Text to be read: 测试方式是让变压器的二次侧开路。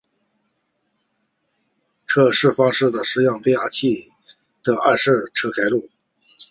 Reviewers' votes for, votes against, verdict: 2, 1, accepted